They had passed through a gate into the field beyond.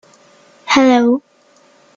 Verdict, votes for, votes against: rejected, 0, 2